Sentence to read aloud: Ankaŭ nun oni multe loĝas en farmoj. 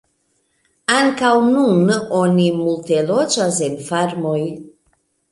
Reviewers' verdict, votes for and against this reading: accepted, 2, 0